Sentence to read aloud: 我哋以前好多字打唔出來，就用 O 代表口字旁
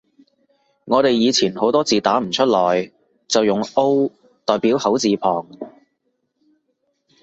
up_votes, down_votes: 2, 0